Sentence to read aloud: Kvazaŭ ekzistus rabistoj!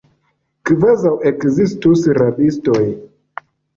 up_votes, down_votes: 1, 2